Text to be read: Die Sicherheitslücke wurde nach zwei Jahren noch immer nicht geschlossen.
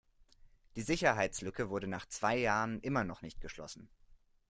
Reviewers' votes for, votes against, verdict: 0, 2, rejected